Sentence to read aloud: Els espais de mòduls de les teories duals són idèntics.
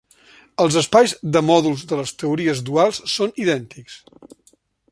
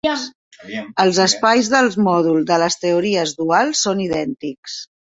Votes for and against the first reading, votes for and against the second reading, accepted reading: 3, 0, 0, 2, first